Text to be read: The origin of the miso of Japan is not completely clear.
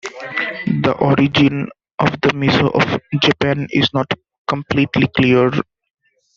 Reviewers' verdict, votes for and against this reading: rejected, 0, 2